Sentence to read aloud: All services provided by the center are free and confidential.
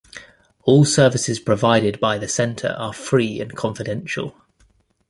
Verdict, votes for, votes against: accepted, 2, 0